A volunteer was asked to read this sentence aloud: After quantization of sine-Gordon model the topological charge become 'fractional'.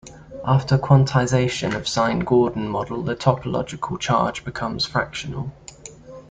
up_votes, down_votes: 1, 2